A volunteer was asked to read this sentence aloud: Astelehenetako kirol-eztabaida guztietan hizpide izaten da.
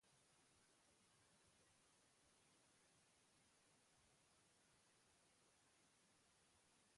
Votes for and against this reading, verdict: 0, 4, rejected